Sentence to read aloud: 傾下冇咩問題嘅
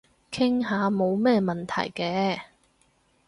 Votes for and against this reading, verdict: 4, 0, accepted